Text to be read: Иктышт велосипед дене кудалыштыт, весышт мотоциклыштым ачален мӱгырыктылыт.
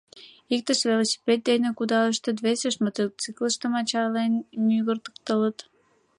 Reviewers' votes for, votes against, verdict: 2, 5, rejected